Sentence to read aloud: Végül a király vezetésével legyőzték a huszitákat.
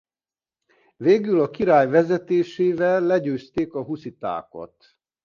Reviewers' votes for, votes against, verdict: 2, 0, accepted